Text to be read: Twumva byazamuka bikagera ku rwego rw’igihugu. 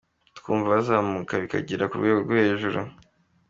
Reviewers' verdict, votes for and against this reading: accepted, 2, 0